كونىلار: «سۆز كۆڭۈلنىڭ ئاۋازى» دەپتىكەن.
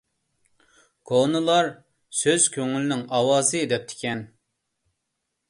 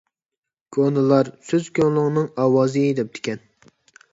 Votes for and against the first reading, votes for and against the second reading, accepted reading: 2, 0, 0, 2, first